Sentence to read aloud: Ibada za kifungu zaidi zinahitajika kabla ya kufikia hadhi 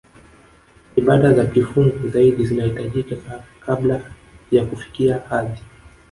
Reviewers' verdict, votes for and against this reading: accepted, 4, 3